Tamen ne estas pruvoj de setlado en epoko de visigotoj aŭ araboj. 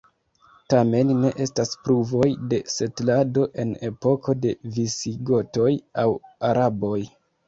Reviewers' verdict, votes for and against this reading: accepted, 2, 1